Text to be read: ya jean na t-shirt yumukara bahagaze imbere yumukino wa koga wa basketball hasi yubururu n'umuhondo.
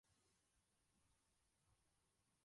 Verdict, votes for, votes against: rejected, 0, 2